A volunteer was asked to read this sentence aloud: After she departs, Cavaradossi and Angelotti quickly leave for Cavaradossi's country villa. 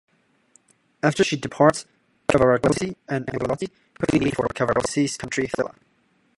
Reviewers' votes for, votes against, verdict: 0, 2, rejected